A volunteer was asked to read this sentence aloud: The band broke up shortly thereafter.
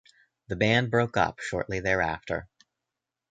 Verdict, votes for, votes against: accepted, 2, 0